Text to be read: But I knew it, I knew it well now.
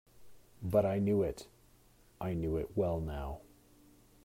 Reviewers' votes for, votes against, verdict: 2, 0, accepted